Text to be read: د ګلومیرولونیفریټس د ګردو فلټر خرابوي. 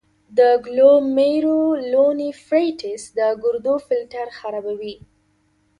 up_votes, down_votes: 2, 0